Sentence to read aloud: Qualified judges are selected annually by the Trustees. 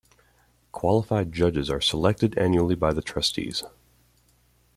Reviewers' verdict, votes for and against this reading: accepted, 2, 0